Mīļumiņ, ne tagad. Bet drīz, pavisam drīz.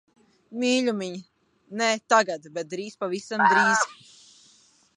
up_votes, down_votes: 0, 2